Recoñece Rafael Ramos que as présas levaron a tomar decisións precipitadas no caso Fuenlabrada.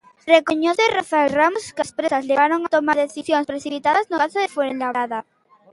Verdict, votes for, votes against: rejected, 0, 2